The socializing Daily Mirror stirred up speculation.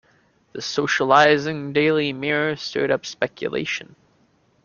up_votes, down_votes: 2, 0